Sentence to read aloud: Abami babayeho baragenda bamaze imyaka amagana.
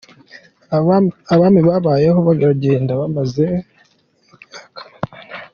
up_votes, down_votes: 2, 1